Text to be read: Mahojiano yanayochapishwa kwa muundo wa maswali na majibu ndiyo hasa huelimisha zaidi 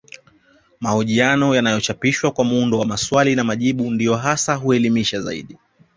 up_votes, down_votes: 2, 0